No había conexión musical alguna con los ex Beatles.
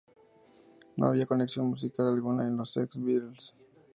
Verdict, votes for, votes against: rejected, 0, 2